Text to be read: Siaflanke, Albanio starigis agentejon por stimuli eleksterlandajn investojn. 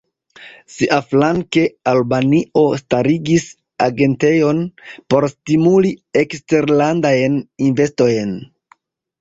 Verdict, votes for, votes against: rejected, 1, 2